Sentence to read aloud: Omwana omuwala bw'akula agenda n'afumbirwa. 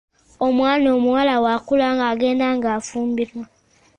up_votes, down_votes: 0, 2